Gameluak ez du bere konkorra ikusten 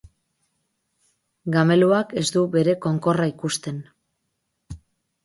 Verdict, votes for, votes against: accepted, 4, 0